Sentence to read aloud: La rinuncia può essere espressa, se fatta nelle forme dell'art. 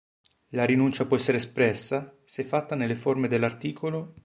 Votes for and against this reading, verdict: 0, 2, rejected